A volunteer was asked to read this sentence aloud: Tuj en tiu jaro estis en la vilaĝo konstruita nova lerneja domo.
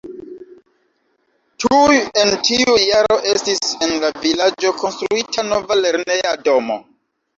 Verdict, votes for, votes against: accepted, 2, 0